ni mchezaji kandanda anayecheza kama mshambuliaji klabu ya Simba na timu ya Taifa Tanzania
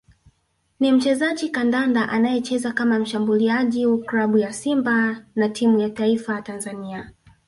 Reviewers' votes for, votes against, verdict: 1, 2, rejected